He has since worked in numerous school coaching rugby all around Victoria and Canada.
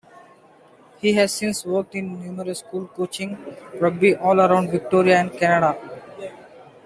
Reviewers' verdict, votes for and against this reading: accepted, 2, 0